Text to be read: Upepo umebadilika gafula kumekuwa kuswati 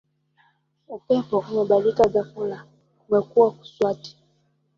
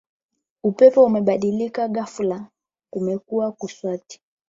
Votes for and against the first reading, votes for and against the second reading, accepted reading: 1, 3, 8, 0, second